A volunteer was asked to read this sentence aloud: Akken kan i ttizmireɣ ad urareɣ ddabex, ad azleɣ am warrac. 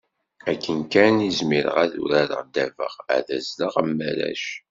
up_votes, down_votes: 1, 2